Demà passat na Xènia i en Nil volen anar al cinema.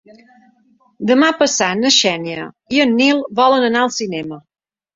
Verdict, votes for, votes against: accepted, 3, 0